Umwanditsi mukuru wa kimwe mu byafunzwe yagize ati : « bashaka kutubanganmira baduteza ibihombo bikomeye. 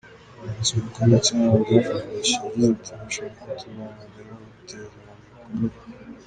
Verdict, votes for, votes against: rejected, 0, 2